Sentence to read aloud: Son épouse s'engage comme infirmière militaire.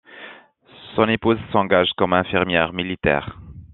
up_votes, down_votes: 2, 0